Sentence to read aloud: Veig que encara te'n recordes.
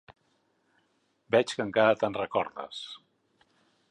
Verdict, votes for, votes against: accepted, 3, 0